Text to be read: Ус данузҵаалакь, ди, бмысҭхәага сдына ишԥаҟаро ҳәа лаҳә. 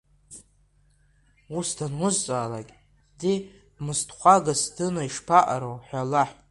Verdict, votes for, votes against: accepted, 2, 1